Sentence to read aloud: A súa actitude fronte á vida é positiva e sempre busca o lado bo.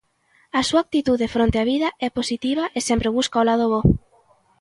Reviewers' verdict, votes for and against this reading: accepted, 2, 0